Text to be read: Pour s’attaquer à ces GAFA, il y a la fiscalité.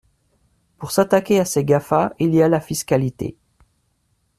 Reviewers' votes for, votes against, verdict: 2, 0, accepted